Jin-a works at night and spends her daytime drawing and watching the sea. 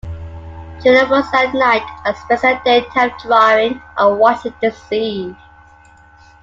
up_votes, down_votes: 0, 2